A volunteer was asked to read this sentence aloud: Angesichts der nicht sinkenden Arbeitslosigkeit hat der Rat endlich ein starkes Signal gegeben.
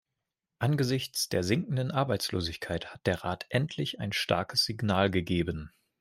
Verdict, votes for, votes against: rejected, 0, 2